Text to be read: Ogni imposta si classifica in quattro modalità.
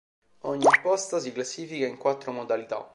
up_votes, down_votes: 1, 2